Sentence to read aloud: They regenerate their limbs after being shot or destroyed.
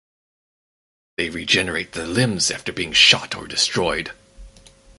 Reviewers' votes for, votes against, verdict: 6, 0, accepted